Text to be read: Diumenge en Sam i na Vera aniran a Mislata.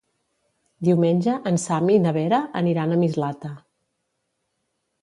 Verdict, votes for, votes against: accepted, 2, 0